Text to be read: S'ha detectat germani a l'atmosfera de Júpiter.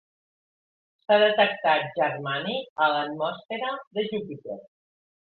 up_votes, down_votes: 3, 1